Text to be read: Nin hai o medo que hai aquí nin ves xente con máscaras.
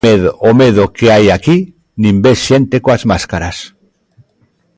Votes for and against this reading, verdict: 0, 2, rejected